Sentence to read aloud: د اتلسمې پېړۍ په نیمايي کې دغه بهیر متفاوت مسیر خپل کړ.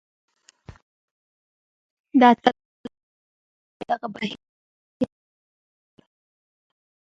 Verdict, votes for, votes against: rejected, 1, 2